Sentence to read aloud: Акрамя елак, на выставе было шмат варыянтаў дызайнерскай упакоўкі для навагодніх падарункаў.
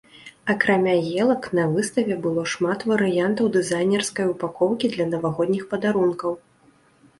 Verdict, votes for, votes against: rejected, 1, 2